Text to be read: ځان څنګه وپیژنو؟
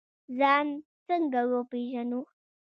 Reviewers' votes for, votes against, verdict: 3, 0, accepted